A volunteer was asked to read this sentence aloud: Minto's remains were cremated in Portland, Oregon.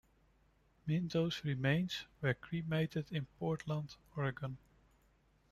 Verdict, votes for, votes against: accepted, 2, 1